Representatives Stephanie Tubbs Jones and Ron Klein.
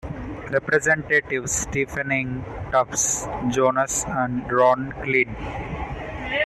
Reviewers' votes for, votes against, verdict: 1, 2, rejected